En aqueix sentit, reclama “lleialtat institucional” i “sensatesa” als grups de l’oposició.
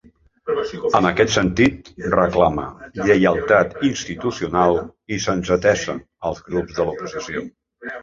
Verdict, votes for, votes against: rejected, 1, 2